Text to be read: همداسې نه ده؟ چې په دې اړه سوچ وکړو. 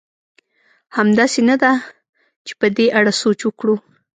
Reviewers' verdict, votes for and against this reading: accepted, 2, 0